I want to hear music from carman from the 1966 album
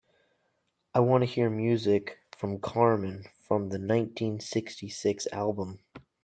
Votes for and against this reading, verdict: 0, 2, rejected